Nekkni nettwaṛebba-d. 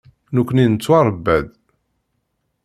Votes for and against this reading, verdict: 2, 0, accepted